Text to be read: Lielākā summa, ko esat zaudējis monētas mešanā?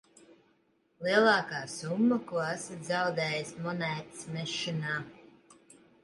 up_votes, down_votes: 1, 2